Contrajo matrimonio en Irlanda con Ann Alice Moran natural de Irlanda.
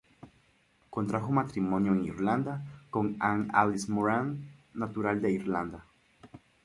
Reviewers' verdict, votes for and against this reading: accepted, 2, 0